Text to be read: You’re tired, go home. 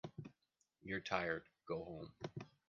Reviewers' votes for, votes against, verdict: 3, 0, accepted